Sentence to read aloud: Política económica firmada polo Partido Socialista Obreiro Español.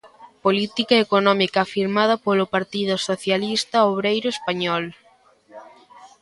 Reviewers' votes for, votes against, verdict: 1, 2, rejected